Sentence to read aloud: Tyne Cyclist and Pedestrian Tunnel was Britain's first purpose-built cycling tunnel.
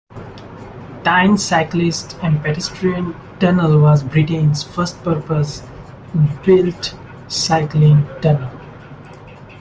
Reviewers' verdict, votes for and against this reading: accepted, 2, 0